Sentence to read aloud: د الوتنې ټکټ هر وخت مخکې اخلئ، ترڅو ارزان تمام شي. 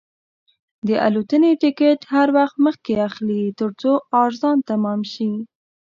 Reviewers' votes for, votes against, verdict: 2, 1, accepted